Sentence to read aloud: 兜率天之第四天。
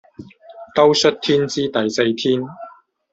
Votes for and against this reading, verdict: 0, 2, rejected